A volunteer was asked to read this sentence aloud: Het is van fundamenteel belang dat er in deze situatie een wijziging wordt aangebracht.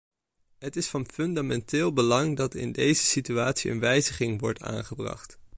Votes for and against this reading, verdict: 1, 2, rejected